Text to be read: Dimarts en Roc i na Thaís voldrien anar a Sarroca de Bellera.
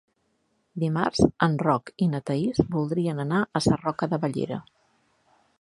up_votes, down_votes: 3, 1